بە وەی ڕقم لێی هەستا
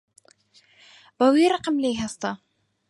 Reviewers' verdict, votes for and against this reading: accepted, 4, 0